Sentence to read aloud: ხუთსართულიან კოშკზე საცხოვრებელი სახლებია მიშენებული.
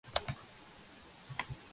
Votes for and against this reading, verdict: 0, 2, rejected